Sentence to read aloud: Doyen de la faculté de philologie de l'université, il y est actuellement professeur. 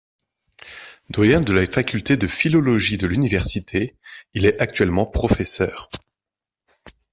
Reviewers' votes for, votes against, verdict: 1, 2, rejected